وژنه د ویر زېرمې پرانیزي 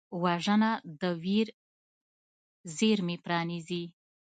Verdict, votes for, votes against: rejected, 0, 2